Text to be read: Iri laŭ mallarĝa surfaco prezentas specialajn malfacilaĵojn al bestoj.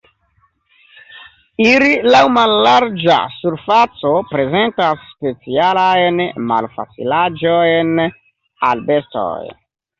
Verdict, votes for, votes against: rejected, 0, 2